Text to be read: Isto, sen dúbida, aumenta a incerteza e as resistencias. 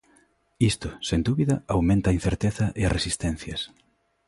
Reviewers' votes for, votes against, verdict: 2, 0, accepted